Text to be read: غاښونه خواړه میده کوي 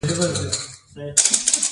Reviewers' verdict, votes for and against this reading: rejected, 0, 2